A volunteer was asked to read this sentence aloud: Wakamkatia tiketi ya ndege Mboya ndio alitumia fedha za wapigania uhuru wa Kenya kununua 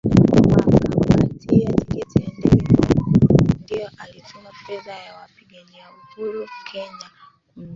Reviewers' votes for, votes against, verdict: 0, 3, rejected